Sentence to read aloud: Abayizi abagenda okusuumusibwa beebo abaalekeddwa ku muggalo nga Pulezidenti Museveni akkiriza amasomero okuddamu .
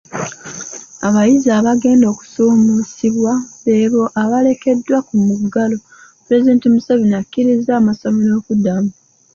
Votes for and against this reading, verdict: 1, 2, rejected